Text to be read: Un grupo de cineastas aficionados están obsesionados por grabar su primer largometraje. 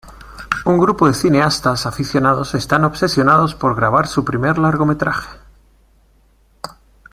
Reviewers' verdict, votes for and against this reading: accepted, 2, 0